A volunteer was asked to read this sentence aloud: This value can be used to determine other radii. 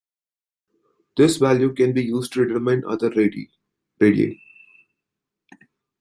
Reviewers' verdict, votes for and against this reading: rejected, 0, 2